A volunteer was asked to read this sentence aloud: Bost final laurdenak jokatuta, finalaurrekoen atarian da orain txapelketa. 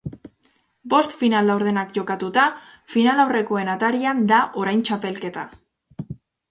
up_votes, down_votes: 2, 0